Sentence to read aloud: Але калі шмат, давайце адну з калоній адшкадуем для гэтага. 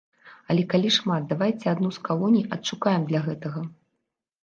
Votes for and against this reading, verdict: 1, 2, rejected